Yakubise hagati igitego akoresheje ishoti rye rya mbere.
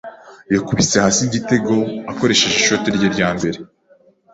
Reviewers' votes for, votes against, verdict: 1, 2, rejected